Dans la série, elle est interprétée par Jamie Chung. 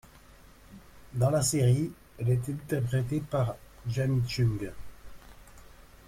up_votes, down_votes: 1, 2